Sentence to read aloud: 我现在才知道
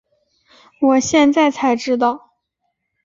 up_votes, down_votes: 4, 0